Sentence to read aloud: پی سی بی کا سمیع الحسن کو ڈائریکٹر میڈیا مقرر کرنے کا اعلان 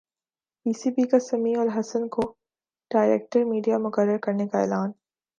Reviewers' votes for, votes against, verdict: 2, 0, accepted